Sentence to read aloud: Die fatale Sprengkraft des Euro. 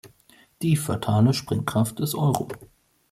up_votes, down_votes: 2, 0